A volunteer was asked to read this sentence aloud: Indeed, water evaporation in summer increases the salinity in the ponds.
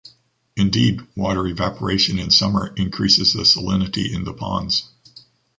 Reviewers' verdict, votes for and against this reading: accepted, 2, 0